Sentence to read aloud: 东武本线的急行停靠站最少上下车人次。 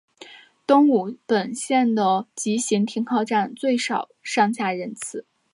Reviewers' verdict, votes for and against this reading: accepted, 2, 1